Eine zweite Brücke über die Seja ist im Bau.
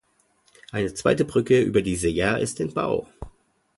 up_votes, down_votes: 2, 0